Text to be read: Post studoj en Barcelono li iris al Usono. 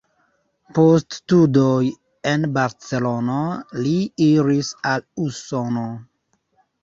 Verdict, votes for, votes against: rejected, 0, 2